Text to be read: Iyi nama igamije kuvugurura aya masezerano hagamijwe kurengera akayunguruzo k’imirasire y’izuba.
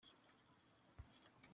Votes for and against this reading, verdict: 0, 2, rejected